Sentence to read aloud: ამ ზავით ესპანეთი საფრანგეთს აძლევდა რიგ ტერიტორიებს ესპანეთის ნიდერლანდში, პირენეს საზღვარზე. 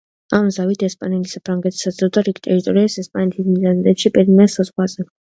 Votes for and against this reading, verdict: 1, 2, rejected